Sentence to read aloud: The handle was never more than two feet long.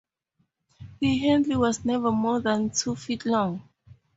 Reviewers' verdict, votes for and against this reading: accepted, 4, 0